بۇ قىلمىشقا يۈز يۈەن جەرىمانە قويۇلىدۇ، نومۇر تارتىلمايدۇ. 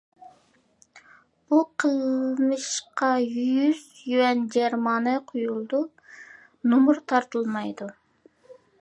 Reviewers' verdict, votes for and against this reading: accepted, 2, 1